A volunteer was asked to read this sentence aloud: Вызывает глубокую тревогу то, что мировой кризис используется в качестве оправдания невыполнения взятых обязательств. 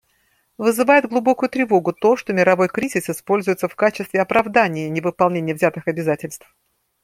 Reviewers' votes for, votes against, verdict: 2, 0, accepted